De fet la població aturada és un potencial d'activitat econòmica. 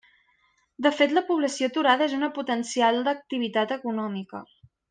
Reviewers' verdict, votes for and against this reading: rejected, 1, 2